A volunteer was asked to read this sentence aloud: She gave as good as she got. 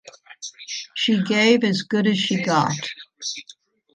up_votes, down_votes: 0, 2